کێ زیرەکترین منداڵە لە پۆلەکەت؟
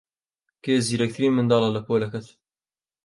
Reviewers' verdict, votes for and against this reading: accepted, 2, 0